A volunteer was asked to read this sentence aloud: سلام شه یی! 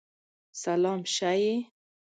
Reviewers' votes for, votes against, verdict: 2, 0, accepted